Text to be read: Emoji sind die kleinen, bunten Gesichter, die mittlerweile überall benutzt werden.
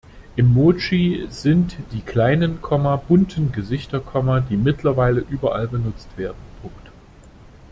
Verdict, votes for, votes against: rejected, 0, 2